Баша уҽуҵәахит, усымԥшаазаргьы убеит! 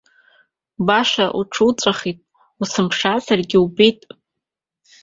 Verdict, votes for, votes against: rejected, 1, 2